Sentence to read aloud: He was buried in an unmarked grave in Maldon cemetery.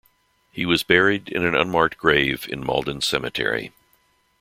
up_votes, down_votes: 2, 0